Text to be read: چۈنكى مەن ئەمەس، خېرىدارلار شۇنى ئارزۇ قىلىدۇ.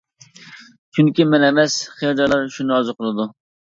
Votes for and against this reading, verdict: 1, 2, rejected